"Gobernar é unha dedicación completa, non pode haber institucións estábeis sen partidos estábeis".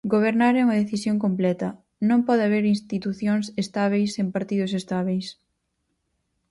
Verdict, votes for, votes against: rejected, 2, 4